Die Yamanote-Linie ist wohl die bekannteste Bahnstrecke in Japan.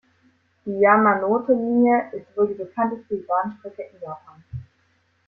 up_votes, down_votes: 2, 1